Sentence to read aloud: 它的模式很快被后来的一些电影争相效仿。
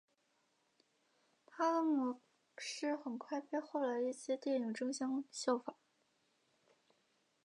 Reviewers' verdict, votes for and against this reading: rejected, 1, 2